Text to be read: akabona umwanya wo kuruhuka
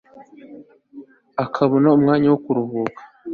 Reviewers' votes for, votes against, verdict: 4, 0, accepted